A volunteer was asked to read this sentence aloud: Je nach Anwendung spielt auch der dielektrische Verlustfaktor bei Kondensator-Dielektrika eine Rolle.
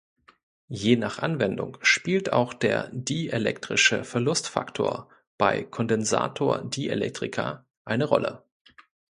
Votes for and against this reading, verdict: 2, 0, accepted